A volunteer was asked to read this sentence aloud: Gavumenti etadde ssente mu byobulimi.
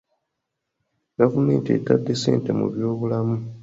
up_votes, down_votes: 1, 2